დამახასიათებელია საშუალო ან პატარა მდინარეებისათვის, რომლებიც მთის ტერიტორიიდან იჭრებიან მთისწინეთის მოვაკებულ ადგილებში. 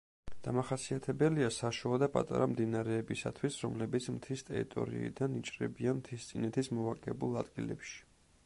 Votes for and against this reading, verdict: 0, 3, rejected